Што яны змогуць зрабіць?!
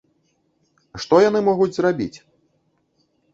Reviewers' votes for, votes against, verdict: 2, 3, rejected